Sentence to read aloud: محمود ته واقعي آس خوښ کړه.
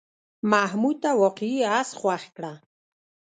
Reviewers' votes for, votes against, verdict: 1, 2, rejected